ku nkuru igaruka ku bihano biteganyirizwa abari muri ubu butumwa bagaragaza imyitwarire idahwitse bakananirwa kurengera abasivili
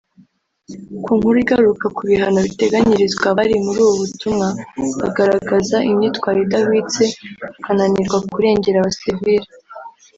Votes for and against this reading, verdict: 1, 2, rejected